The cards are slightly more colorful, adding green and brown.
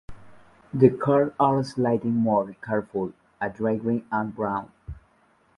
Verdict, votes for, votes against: rejected, 0, 2